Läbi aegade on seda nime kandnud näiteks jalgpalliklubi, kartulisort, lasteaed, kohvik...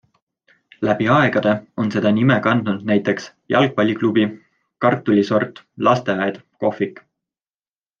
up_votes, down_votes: 2, 0